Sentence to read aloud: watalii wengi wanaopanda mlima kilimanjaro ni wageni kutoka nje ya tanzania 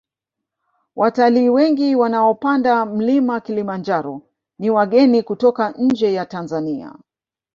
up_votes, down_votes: 1, 2